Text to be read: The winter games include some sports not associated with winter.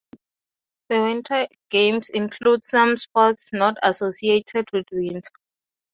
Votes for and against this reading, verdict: 2, 0, accepted